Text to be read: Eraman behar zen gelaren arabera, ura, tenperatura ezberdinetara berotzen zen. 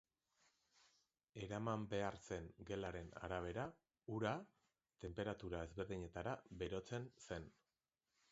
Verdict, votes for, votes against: accepted, 2, 0